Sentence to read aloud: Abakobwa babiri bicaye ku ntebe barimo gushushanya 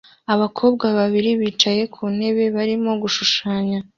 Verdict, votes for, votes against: accepted, 2, 0